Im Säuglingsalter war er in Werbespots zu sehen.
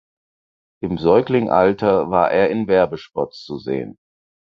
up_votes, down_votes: 2, 4